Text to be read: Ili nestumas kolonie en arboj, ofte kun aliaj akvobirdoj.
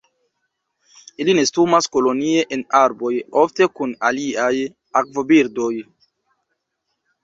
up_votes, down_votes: 2, 1